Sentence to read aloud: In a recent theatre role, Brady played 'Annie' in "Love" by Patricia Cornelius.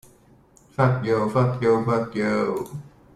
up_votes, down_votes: 0, 2